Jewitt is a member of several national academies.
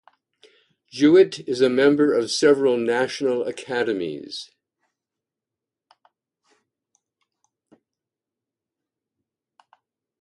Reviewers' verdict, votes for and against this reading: rejected, 0, 2